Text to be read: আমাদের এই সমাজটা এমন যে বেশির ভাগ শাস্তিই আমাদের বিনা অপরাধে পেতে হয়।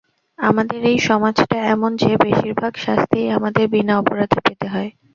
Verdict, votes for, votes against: accepted, 2, 0